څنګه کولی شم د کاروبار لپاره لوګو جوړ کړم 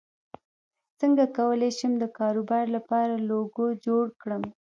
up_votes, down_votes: 0, 2